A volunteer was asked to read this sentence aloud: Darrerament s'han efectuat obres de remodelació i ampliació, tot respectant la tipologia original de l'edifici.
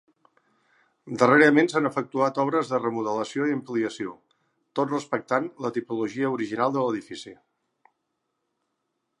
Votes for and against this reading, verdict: 3, 0, accepted